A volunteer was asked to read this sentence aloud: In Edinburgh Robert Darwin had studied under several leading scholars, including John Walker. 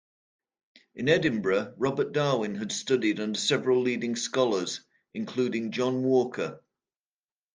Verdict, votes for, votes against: accepted, 2, 0